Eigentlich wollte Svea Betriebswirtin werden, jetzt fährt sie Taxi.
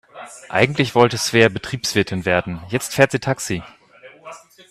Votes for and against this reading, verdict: 2, 0, accepted